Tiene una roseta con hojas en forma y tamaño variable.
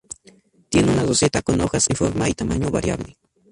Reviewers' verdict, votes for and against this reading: rejected, 0, 2